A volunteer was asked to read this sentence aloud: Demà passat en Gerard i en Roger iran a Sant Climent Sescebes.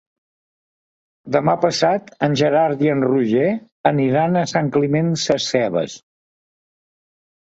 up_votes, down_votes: 1, 2